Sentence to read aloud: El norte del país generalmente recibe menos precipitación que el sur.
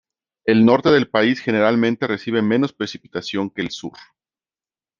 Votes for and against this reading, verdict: 2, 0, accepted